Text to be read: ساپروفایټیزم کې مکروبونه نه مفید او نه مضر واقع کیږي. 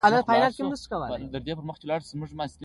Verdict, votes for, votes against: accepted, 2, 0